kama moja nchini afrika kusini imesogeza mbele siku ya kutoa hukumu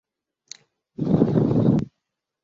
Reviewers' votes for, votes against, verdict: 0, 2, rejected